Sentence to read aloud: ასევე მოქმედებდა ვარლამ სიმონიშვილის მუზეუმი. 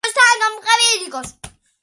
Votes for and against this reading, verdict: 0, 2, rejected